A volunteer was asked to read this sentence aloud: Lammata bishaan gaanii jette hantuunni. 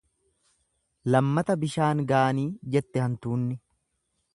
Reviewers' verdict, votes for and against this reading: accepted, 2, 0